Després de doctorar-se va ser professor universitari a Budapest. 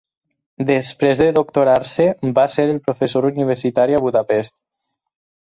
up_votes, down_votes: 4, 0